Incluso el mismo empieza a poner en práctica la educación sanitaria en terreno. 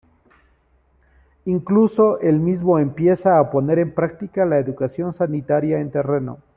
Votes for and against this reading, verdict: 2, 0, accepted